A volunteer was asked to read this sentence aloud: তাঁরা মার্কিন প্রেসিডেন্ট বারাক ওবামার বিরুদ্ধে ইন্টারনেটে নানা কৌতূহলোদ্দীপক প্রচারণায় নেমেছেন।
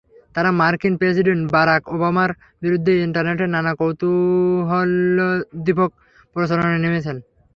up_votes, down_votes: 3, 0